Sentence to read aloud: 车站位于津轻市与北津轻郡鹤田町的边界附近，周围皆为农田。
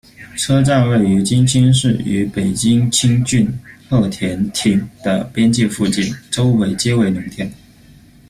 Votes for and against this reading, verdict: 1, 2, rejected